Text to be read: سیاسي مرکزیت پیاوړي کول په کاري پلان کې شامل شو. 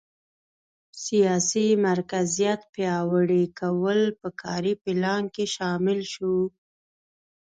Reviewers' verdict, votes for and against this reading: accepted, 2, 1